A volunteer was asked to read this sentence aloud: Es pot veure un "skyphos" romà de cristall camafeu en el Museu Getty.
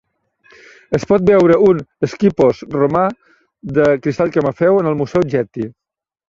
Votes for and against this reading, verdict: 1, 2, rejected